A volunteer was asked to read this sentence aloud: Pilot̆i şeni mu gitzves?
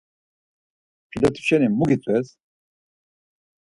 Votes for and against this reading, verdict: 4, 0, accepted